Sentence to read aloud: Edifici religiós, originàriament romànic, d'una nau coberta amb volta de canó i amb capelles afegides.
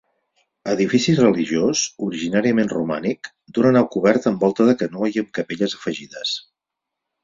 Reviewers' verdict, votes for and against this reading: accepted, 4, 2